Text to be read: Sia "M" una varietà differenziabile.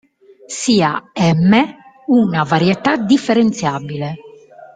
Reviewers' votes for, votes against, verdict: 2, 1, accepted